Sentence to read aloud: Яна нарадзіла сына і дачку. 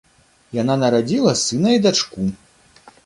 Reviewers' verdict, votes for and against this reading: accepted, 2, 0